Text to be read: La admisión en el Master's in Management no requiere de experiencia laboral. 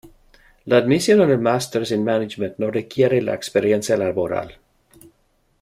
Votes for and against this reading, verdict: 0, 2, rejected